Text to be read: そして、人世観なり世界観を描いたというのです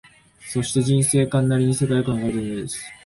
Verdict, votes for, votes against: rejected, 0, 2